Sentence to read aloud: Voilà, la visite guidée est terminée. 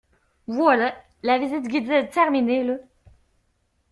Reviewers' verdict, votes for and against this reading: rejected, 0, 2